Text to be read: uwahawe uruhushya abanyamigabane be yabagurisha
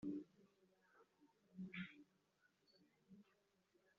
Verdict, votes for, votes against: rejected, 0, 2